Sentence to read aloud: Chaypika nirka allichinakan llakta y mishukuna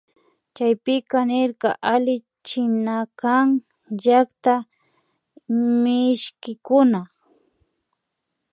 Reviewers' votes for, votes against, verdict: 1, 2, rejected